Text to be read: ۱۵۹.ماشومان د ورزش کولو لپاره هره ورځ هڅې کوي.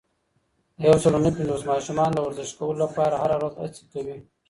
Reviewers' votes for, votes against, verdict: 0, 2, rejected